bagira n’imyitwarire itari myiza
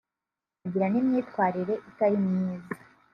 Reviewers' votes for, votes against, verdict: 0, 2, rejected